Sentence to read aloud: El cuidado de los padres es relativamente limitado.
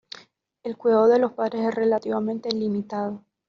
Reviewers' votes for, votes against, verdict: 2, 0, accepted